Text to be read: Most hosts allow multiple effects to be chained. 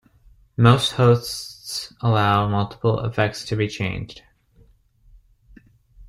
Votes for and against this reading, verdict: 0, 2, rejected